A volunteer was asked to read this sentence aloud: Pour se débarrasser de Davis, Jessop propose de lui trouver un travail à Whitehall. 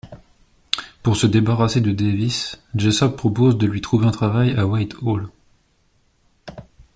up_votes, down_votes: 2, 0